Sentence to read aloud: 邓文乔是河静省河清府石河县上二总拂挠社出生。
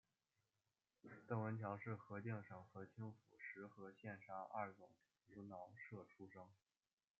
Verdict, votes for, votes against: rejected, 0, 2